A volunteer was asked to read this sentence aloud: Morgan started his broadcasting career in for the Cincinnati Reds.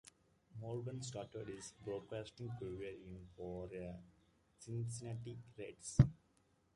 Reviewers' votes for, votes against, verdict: 1, 2, rejected